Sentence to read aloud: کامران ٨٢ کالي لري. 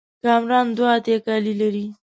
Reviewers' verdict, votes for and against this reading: rejected, 0, 2